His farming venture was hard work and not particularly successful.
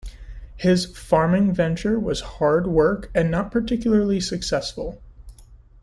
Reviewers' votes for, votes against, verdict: 2, 0, accepted